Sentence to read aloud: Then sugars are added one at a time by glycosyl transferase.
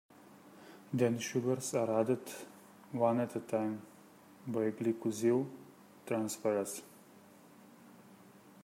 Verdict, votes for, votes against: rejected, 1, 2